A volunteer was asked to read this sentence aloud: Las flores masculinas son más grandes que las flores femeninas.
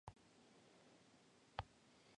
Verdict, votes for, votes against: rejected, 0, 2